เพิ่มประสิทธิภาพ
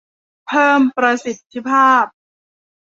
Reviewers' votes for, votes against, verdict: 2, 1, accepted